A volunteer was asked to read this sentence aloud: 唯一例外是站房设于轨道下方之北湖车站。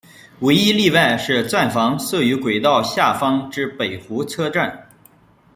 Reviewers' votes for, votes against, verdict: 1, 2, rejected